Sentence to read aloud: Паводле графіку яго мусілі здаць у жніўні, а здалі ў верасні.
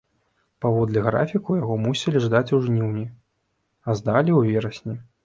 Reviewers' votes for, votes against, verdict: 0, 2, rejected